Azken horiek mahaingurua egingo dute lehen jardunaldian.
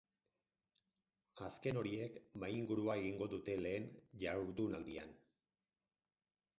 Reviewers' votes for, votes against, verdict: 0, 4, rejected